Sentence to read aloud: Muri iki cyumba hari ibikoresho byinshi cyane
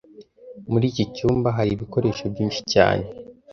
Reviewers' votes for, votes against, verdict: 2, 0, accepted